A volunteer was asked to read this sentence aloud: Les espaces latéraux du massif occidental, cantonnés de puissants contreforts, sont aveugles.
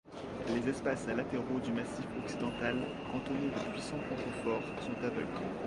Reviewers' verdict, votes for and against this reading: rejected, 1, 2